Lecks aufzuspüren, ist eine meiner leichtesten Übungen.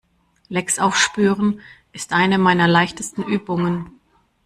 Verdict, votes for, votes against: rejected, 1, 2